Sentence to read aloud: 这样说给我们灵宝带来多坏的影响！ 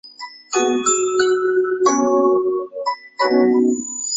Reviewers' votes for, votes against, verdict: 0, 2, rejected